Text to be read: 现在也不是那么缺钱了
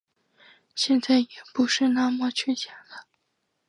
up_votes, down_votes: 3, 0